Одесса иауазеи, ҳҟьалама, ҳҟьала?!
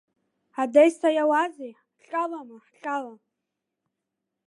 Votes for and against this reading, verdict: 1, 3, rejected